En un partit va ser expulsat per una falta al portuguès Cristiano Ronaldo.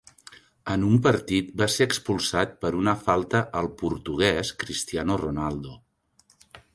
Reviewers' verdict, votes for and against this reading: accepted, 3, 0